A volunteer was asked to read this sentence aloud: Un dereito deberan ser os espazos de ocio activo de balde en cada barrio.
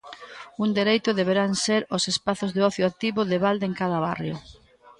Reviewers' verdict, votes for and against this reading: rejected, 0, 2